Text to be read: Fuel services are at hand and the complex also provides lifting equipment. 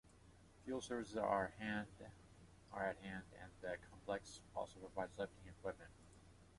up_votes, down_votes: 0, 2